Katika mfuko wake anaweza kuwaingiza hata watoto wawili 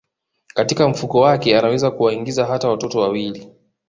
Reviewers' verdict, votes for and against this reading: accepted, 2, 0